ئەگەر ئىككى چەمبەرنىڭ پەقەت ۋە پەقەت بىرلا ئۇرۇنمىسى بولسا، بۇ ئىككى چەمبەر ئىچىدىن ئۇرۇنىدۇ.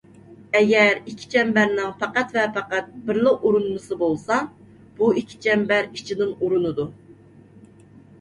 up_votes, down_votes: 2, 0